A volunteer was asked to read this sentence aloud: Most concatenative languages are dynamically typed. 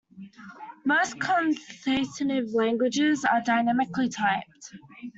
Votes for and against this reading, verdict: 1, 2, rejected